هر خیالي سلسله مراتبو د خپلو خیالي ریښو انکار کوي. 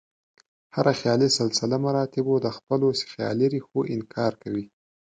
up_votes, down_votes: 2, 0